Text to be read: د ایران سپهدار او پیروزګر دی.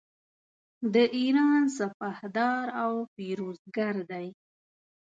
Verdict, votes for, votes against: accepted, 2, 0